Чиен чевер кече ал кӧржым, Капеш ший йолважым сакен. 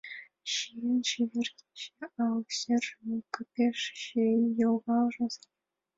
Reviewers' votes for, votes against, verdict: 1, 2, rejected